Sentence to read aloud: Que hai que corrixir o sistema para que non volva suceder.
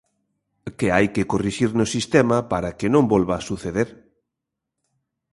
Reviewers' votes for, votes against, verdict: 0, 2, rejected